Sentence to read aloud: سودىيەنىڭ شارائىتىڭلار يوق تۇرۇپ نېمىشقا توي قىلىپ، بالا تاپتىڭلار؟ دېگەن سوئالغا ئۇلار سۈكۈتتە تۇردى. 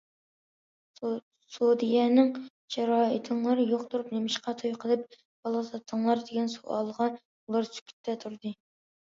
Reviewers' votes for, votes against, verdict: 0, 2, rejected